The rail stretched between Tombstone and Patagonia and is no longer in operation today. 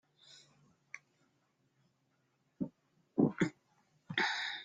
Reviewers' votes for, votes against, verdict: 0, 2, rejected